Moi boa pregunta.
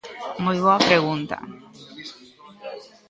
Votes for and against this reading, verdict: 0, 2, rejected